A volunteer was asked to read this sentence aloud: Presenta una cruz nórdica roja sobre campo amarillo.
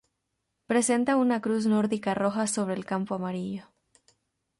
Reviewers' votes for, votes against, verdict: 2, 0, accepted